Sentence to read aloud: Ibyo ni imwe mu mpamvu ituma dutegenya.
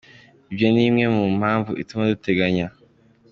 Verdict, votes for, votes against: accepted, 2, 0